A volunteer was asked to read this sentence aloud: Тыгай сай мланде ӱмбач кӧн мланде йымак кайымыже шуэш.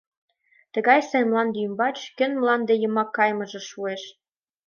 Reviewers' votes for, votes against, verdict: 3, 1, accepted